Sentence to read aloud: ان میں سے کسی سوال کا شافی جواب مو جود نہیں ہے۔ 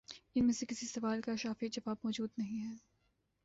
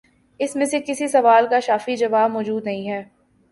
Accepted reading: first